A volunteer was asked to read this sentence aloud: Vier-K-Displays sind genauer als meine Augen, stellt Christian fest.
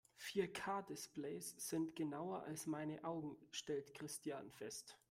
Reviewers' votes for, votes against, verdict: 2, 0, accepted